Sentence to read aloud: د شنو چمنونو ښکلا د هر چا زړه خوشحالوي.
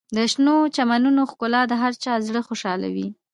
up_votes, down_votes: 2, 0